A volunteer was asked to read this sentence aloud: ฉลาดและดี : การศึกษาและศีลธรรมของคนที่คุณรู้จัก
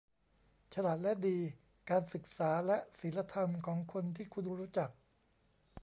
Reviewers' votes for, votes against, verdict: 1, 2, rejected